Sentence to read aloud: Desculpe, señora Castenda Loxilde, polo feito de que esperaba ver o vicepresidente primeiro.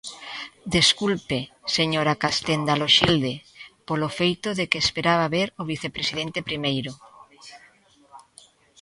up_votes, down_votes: 2, 0